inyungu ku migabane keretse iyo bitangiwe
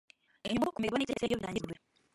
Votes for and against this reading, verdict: 1, 2, rejected